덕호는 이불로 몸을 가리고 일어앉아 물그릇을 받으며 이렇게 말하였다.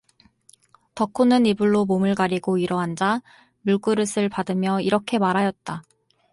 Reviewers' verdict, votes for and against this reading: accepted, 4, 0